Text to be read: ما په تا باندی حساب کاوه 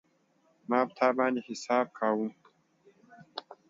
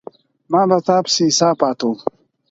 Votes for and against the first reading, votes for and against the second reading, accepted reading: 2, 0, 0, 4, first